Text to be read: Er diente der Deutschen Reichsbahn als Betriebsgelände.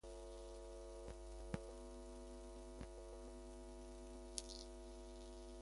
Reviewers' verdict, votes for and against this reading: rejected, 0, 2